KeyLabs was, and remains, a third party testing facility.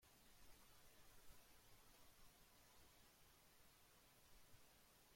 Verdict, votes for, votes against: rejected, 0, 2